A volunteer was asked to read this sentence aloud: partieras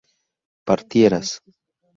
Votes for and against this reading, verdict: 0, 2, rejected